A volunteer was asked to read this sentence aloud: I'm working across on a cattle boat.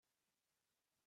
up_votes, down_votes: 0, 4